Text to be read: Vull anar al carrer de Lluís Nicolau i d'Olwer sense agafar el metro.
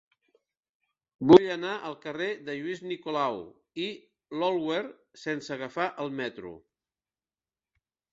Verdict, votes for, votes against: rejected, 1, 2